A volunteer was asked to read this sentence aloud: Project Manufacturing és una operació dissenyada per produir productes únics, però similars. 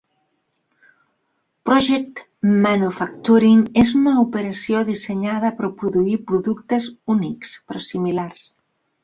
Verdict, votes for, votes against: rejected, 2, 3